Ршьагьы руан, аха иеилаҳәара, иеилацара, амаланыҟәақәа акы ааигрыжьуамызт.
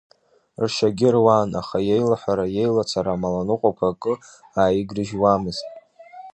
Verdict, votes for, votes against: accepted, 2, 0